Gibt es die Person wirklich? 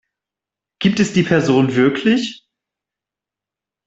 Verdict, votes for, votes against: accepted, 2, 0